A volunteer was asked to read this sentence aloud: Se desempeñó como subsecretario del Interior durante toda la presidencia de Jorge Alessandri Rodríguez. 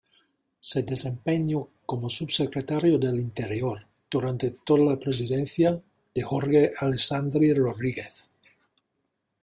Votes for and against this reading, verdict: 2, 0, accepted